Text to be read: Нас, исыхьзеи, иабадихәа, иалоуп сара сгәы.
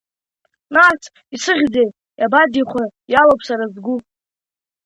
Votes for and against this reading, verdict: 2, 0, accepted